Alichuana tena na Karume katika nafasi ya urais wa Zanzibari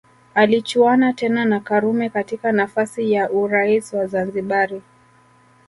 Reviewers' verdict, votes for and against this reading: accepted, 2, 0